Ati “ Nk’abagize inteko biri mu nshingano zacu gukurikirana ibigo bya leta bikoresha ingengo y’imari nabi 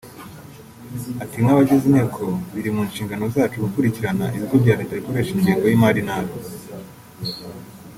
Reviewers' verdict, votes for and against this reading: accepted, 2, 1